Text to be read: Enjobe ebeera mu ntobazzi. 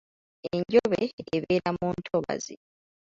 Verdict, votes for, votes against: accepted, 2, 0